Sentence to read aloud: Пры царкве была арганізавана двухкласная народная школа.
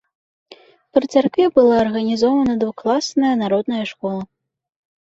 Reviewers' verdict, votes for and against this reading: rejected, 0, 2